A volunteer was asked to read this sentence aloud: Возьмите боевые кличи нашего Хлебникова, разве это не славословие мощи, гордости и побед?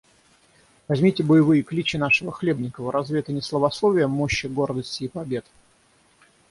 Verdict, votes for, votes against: rejected, 3, 3